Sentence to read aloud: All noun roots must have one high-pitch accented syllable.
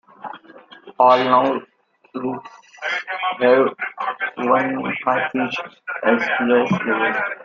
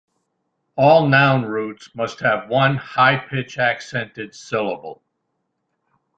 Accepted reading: second